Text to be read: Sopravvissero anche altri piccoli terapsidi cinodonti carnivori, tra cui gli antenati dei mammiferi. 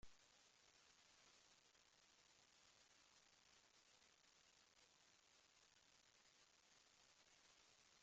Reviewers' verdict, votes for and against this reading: rejected, 0, 2